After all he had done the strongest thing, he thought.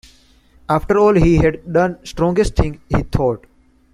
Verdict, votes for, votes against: rejected, 0, 2